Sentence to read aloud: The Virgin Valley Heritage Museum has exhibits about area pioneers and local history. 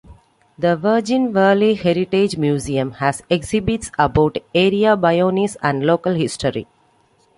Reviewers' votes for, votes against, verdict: 2, 1, accepted